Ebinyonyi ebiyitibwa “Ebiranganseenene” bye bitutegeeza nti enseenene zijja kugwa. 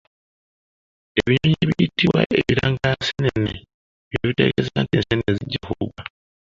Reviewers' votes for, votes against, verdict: 0, 2, rejected